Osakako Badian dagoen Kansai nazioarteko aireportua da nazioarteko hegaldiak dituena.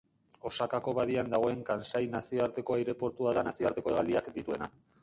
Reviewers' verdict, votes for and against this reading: rejected, 1, 2